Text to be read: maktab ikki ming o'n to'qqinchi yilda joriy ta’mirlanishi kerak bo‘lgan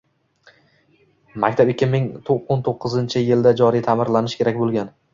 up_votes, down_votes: 1, 2